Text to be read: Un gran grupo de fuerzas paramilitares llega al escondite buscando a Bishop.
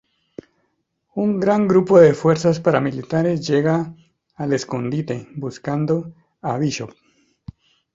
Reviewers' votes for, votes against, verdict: 2, 0, accepted